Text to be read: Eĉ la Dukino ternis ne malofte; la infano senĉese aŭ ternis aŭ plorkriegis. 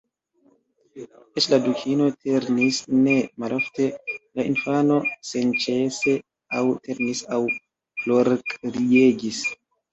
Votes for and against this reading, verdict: 0, 2, rejected